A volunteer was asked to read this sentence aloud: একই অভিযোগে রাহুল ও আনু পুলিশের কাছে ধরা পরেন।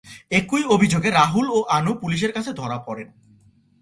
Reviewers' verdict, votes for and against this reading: accepted, 2, 0